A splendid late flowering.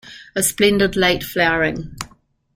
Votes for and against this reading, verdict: 2, 0, accepted